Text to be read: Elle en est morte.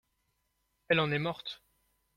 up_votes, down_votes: 2, 0